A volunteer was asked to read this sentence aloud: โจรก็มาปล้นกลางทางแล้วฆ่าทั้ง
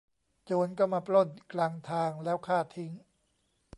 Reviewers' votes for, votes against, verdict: 0, 2, rejected